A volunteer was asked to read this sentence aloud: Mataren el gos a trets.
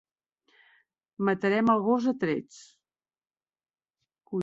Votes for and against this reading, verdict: 0, 2, rejected